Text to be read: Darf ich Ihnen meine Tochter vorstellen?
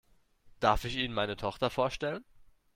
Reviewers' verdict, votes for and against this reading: accepted, 2, 0